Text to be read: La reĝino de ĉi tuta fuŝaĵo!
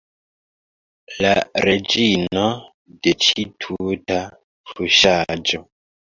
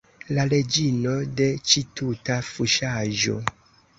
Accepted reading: second